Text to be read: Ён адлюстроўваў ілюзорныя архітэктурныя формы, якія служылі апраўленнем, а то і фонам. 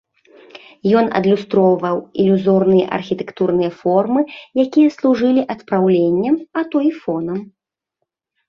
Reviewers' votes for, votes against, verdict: 1, 2, rejected